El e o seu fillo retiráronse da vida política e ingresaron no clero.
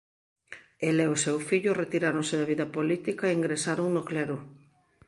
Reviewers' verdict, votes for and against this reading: accepted, 2, 1